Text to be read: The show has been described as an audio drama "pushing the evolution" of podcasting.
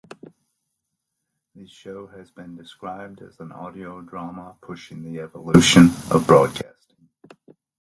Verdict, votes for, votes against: rejected, 0, 2